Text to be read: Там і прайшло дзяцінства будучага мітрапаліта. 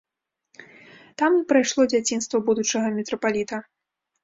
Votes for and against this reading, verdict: 2, 0, accepted